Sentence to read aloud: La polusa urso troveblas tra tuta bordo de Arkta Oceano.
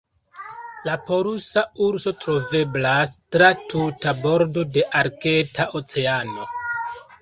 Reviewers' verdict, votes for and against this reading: rejected, 0, 2